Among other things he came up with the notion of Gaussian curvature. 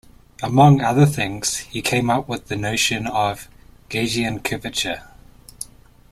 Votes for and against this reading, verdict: 1, 2, rejected